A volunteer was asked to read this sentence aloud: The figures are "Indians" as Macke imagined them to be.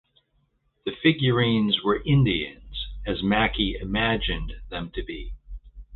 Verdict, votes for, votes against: rejected, 0, 2